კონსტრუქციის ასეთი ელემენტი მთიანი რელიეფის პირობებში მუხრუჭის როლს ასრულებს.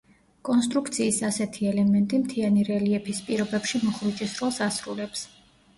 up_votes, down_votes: 2, 0